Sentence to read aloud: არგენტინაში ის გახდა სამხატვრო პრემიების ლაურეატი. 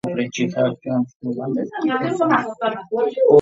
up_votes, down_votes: 0, 2